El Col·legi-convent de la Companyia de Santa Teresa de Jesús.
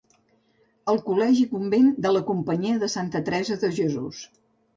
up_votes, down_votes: 4, 0